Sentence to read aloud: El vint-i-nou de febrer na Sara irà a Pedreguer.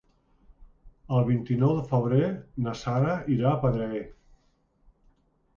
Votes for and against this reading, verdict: 2, 0, accepted